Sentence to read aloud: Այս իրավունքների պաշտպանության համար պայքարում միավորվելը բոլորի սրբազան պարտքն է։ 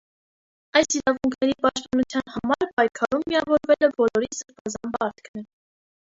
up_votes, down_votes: 0, 2